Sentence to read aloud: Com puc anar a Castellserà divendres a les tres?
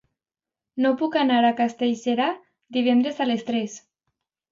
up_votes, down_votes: 2, 1